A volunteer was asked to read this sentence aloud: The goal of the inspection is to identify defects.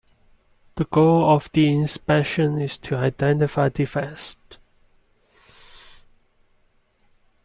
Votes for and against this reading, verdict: 1, 2, rejected